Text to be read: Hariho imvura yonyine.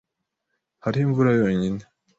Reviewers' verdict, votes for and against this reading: accepted, 2, 0